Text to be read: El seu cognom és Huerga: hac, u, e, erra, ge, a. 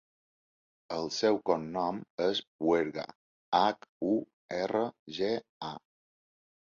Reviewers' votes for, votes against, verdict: 0, 2, rejected